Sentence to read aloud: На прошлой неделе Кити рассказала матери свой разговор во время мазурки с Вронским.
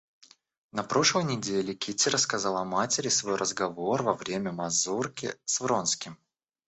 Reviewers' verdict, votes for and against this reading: accepted, 2, 0